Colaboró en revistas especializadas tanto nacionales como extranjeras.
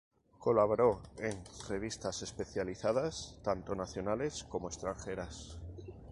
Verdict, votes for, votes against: accepted, 2, 0